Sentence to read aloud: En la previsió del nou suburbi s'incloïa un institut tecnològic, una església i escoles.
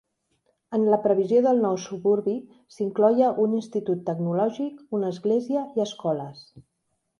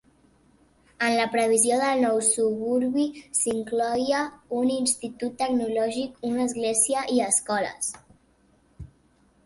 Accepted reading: first